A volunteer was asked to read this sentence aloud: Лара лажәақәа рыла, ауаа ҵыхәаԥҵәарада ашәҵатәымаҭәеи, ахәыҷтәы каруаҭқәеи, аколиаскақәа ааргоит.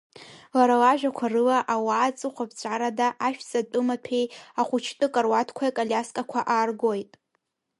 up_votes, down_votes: 2, 0